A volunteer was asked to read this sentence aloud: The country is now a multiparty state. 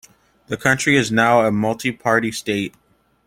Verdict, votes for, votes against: accepted, 2, 0